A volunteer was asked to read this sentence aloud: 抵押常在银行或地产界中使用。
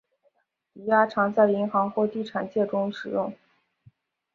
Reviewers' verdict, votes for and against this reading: accepted, 2, 0